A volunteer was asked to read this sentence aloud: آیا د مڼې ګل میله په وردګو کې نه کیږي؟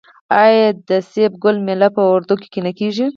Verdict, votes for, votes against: rejected, 0, 4